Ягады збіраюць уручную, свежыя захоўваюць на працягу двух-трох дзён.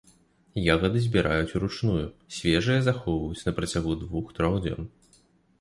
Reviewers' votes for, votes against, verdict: 2, 0, accepted